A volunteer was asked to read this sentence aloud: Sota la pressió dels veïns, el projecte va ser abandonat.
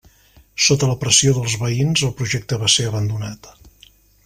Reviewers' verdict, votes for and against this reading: accepted, 3, 0